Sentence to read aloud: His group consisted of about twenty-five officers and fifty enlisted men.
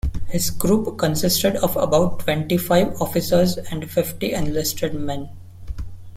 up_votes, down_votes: 2, 0